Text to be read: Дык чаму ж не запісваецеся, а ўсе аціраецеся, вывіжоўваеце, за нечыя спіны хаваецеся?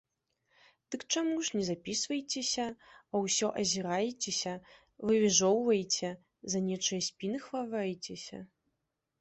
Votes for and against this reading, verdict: 0, 2, rejected